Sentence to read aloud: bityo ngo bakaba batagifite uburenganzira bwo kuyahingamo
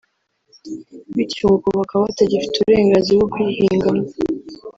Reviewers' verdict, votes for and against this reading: rejected, 1, 2